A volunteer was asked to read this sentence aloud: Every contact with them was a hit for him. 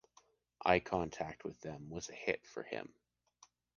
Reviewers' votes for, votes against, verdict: 1, 2, rejected